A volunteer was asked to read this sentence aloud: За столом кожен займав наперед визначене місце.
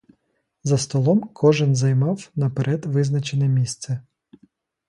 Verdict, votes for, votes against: accepted, 2, 0